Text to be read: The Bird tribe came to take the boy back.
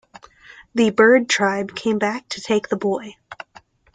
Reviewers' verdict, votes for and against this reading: rejected, 1, 2